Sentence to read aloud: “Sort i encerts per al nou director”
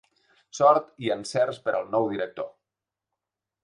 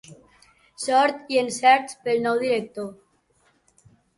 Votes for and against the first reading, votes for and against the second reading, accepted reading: 3, 0, 1, 2, first